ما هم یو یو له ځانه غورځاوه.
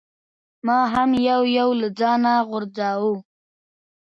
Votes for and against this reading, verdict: 2, 1, accepted